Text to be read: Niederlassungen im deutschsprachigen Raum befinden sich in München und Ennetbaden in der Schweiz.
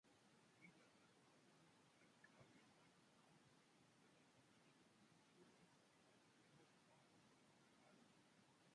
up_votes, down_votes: 0, 2